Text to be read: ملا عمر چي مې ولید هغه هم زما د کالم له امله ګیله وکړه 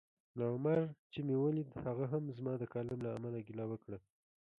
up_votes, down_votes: 2, 1